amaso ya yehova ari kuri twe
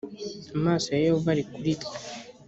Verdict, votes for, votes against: accepted, 3, 0